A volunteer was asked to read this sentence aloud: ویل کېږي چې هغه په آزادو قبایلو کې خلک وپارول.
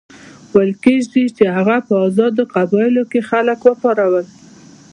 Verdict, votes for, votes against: accepted, 2, 0